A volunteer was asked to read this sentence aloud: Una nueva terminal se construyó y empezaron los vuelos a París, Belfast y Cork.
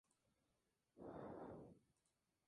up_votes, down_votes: 2, 0